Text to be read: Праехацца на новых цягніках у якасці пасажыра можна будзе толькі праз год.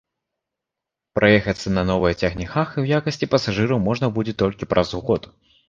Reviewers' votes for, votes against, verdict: 2, 0, accepted